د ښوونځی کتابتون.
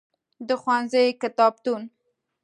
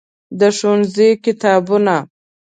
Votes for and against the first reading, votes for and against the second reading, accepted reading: 2, 0, 1, 2, first